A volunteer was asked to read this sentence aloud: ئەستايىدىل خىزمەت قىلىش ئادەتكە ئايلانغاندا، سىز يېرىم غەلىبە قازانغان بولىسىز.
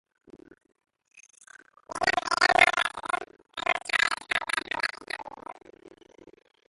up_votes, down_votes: 0, 2